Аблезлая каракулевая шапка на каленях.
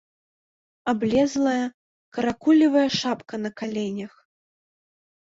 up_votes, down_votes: 2, 1